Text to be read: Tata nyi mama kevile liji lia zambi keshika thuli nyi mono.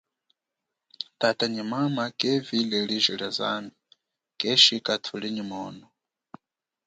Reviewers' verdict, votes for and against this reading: accepted, 2, 0